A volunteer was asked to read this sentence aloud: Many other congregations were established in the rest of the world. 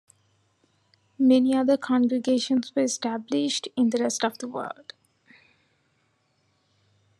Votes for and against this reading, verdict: 2, 1, accepted